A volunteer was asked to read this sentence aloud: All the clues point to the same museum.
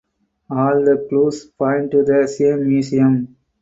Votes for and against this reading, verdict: 4, 0, accepted